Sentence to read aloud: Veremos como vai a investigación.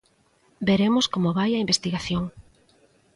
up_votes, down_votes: 2, 0